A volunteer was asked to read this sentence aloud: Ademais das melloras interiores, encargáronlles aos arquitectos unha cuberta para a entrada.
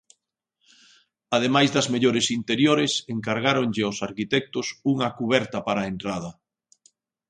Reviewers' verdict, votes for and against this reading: rejected, 1, 2